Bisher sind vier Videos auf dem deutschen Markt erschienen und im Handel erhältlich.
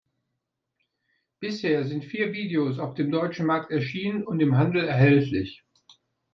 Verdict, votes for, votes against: accepted, 2, 0